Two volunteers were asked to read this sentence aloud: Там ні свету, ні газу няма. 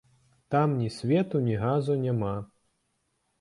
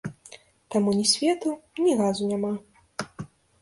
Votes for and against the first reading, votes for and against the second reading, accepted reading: 2, 0, 0, 2, first